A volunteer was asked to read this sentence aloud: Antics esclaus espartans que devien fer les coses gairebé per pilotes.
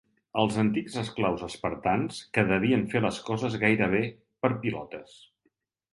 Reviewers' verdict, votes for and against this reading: rejected, 2, 3